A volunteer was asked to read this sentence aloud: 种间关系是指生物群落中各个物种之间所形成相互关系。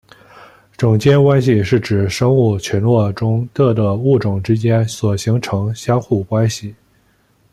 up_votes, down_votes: 2, 0